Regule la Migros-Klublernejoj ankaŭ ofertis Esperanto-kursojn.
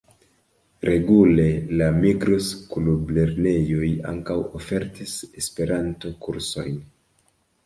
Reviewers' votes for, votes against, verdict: 2, 0, accepted